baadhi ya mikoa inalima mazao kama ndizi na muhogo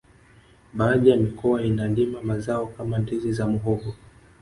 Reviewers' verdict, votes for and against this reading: rejected, 0, 2